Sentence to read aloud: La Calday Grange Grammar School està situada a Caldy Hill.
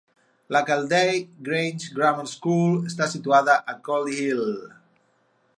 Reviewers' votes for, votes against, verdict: 0, 4, rejected